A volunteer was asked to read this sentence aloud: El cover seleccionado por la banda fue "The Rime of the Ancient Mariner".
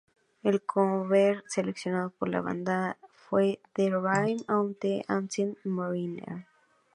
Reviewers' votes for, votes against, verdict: 4, 4, rejected